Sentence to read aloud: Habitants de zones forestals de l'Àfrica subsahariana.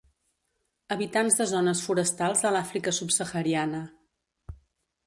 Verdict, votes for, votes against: accepted, 3, 0